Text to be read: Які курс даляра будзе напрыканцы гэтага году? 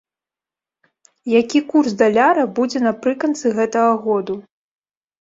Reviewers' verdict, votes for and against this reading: rejected, 0, 2